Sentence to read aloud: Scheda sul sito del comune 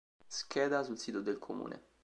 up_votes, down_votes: 2, 0